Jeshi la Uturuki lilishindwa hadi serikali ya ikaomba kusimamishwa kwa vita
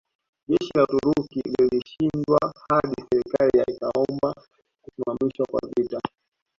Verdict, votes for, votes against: accepted, 2, 1